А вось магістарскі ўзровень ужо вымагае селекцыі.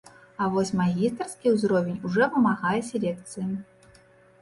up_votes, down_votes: 1, 2